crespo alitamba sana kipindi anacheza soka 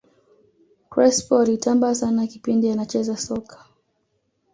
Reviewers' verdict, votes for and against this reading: accepted, 2, 0